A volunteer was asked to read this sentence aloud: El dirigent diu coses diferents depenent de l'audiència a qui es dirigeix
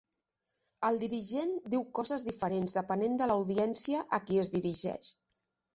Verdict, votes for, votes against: accepted, 3, 0